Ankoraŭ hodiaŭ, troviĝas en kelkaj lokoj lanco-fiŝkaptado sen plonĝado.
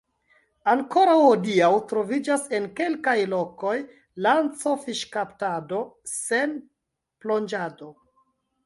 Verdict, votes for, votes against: rejected, 2, 3